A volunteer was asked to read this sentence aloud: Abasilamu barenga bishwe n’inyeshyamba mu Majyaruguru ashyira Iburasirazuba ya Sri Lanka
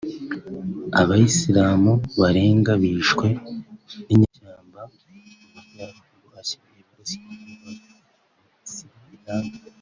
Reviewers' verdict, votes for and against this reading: rejected, 1, 2